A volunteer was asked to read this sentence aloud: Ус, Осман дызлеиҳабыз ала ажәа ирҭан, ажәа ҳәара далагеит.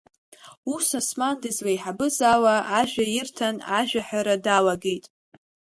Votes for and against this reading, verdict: 2, 0, accepted